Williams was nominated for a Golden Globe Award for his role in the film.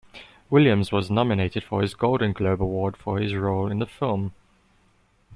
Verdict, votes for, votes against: rejected, 1, 2